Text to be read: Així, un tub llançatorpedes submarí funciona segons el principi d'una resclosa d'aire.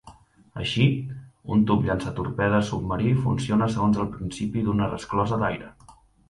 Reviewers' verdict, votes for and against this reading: accepted, 2, 0